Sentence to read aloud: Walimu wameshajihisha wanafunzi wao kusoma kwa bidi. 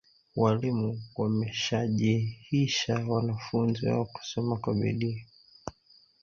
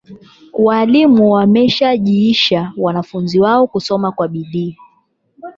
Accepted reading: second